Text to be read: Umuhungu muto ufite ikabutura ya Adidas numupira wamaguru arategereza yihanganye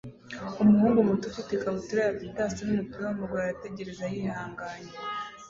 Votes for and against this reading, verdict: 2, 0, accepted